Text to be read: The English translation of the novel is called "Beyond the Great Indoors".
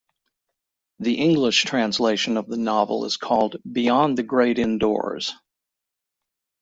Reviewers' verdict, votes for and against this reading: rejected, 1, 2